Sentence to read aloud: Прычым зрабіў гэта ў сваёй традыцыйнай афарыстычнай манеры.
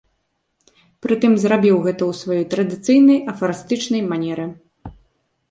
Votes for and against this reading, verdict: 1, 2, rejected